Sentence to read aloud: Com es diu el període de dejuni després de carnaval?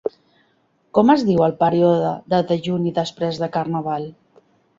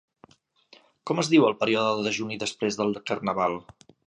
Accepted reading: first